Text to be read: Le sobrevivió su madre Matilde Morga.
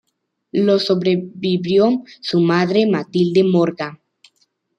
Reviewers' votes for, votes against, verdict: 0, 2, rejected